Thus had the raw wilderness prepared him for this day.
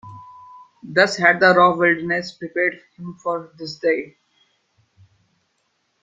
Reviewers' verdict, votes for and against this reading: rejected, 1, 2